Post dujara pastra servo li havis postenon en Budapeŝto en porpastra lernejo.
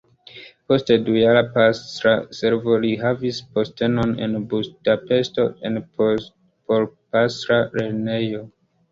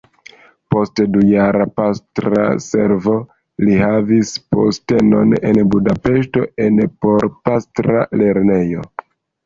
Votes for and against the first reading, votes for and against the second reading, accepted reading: 2, 0, 1, 2, first